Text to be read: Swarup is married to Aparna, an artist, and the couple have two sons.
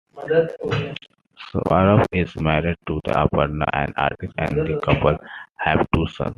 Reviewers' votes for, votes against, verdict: 2, 1, accepted